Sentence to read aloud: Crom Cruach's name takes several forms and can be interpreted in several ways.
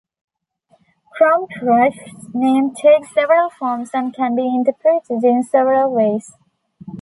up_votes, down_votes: 0, 2